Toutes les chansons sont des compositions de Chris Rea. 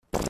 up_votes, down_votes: 0, 2